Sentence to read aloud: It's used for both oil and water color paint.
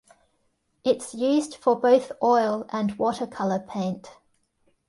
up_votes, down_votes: 2, 0